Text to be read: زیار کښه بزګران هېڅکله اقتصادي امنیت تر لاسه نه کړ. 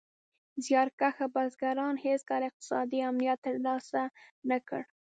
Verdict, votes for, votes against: accepted, 2, 1